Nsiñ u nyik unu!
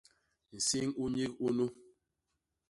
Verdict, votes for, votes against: accepted, 2, 0